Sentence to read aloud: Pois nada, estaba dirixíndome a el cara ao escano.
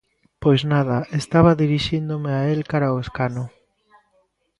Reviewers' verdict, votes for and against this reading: rejected, 0, 2